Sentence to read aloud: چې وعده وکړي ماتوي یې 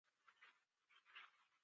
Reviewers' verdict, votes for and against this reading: rejected, 0, 2